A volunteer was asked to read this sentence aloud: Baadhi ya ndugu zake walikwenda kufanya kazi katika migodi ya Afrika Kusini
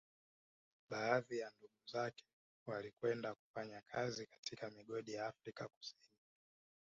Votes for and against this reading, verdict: 2, 0, accepted